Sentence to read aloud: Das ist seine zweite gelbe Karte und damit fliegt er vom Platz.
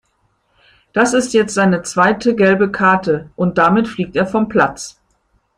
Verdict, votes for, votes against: rejected, 0, 2